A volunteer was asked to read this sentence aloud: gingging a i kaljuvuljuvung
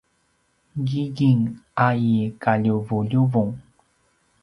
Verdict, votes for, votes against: accepted, 2, 0